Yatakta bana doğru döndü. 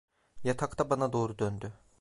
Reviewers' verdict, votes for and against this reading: accepted, 2, 0